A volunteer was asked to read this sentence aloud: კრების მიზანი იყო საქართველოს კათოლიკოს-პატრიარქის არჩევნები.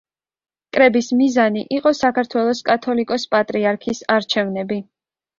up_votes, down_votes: 2, 0